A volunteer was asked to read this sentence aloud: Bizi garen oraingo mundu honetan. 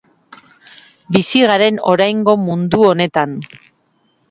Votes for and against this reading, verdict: 2, 0, accepted